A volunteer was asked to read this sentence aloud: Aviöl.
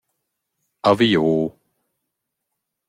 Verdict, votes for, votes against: rejected, 0, 2